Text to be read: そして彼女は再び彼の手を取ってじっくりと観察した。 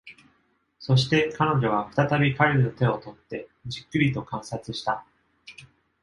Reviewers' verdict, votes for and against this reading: accepted, 2, 0